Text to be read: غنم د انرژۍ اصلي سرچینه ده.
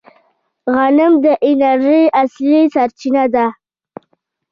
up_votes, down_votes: 0, 2